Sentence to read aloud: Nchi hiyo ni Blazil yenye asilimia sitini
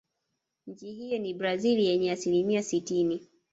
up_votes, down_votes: 0, 2